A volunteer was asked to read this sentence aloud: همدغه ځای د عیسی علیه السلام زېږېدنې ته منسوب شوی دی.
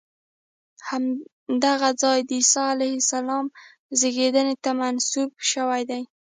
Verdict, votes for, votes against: rejected, 1, 2